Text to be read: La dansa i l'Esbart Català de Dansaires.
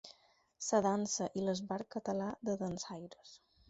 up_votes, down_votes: 4, 0